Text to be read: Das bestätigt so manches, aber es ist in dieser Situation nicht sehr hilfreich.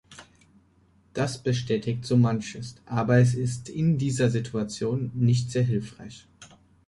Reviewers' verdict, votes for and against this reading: accepted, 2, 0